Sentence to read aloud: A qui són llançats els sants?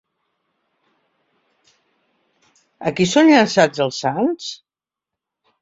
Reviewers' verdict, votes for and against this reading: accepted, 2, 1